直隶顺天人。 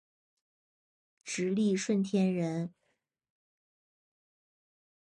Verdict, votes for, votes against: accepted, 2, 0